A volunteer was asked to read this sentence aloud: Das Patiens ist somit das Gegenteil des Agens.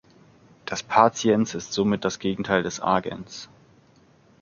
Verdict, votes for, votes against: accepted, 2, 0